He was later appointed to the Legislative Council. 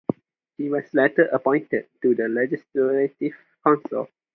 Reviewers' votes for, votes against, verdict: 0, 2, rejected